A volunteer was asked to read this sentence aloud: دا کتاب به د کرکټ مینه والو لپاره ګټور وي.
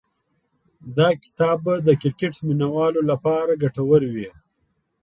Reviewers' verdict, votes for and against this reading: accepted, 3, 0